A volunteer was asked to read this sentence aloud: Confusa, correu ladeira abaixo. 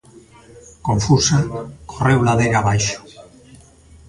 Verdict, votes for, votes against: rejected, 0, 2